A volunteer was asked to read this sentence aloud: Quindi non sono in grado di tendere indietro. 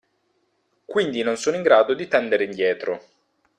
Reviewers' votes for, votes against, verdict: 2, 0, accepted